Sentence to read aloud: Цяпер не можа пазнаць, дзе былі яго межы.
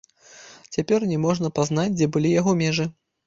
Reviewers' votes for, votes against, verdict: 1, 2, rejected